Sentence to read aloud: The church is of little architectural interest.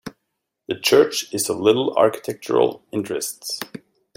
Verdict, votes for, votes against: rejected, 1, 2